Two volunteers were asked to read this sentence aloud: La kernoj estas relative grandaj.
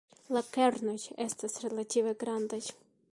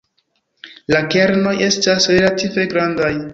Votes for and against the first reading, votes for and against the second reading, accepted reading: 2, 1, 0, 3, first